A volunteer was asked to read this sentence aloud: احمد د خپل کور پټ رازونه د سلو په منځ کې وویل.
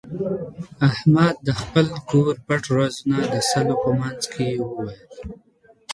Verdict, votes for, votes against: rejected, 1, 2